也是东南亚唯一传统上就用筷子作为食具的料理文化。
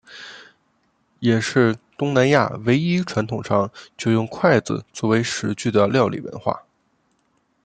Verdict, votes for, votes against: accepted, 2, 0